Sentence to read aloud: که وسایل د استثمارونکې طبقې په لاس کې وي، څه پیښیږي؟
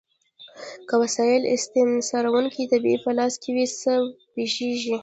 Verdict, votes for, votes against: rejected, 0, 2